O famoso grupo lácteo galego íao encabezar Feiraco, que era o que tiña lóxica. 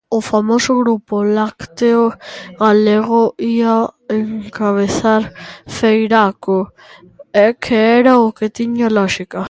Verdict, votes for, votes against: rejected, 0, 2